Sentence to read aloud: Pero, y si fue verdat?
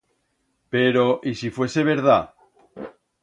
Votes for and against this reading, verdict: 1, 2, rejected